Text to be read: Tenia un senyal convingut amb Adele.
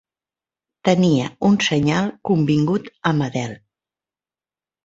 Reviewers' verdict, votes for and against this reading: accepted, 3, 0